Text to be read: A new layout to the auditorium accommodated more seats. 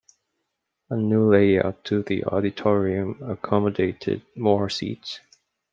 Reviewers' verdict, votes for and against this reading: accepted, 2, 0